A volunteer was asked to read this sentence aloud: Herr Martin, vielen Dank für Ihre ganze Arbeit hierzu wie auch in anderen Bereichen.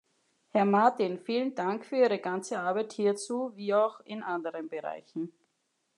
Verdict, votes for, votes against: accepted, 2, 0